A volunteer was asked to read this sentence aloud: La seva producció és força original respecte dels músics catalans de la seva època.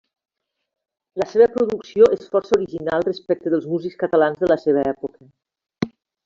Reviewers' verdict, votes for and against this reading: accepted, 3, 1